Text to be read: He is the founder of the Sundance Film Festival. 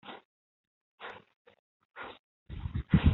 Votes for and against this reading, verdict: 0, 2, rejected